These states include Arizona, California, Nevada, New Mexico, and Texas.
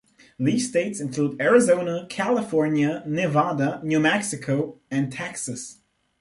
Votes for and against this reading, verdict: 2, 0, accepted